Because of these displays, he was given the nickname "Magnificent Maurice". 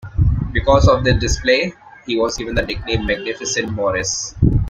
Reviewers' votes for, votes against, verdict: 1, 2, rejected